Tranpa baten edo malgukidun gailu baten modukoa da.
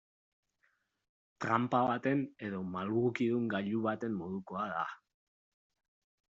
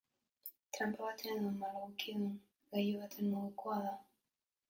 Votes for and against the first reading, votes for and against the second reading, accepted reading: 2, 0, 1, 2, first